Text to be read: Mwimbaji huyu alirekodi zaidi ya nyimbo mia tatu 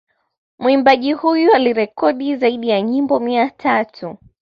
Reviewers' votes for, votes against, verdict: 2, 1, accepted